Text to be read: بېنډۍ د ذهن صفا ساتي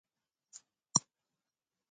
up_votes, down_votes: 0, 2